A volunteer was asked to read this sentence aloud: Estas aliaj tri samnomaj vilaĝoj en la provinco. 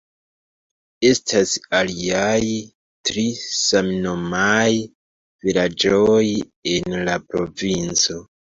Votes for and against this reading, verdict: 0, 2, rejected